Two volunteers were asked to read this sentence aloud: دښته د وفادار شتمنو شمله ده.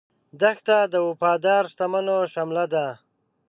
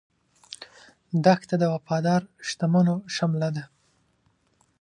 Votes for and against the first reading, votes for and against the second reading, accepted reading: 1, 2, 3, 0, second